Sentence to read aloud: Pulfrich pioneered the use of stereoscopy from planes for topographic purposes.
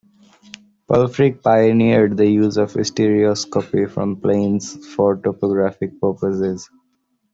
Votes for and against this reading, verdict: 2, 0, accepted